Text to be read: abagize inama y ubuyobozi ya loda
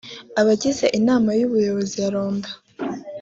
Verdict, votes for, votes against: rejected, 1, 2